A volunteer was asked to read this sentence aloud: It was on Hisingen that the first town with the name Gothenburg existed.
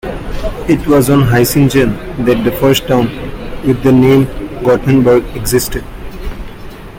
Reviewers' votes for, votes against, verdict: 1, 2, rejected